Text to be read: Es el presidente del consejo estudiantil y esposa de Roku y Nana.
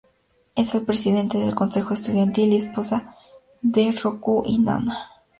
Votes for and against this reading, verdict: 2, 0, accepted